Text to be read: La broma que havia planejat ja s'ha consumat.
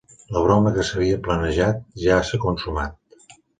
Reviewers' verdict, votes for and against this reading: rejected, 1, 2